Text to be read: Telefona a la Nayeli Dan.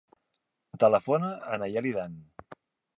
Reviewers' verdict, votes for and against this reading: rejected, 0, 3